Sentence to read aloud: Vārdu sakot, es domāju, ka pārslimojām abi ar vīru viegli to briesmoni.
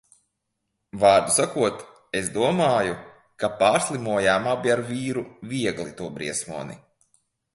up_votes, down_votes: 2, 0